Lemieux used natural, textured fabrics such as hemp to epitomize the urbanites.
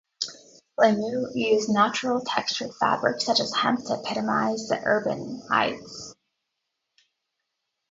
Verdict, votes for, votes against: rejected, 0, 2